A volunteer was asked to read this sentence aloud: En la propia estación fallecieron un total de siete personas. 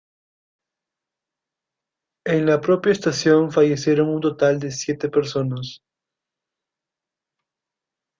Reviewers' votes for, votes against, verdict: 2, 0, accepted